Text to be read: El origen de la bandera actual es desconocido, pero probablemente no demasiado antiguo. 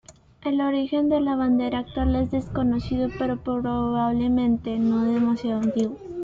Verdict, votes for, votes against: accepted, 2, 0